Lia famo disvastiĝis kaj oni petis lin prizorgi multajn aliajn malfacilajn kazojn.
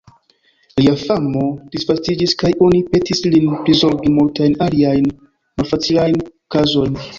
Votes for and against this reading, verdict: 0, 2, rejected